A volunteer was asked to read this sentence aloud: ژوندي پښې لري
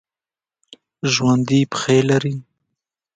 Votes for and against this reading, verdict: 1, 2, rejected